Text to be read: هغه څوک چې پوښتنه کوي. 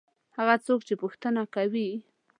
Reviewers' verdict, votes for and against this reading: accepted, 2, 0